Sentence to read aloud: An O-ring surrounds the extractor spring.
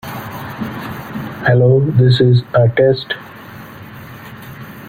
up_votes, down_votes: 0, 2